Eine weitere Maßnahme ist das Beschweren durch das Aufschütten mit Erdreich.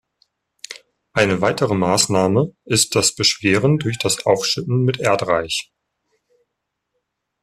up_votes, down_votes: 2, 0